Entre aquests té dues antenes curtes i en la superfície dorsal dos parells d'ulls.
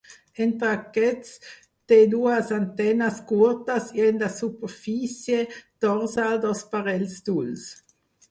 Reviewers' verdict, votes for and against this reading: accepted, 4, 2